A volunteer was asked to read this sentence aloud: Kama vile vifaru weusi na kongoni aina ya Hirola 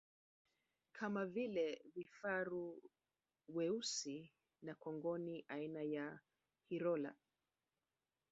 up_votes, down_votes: 0, 2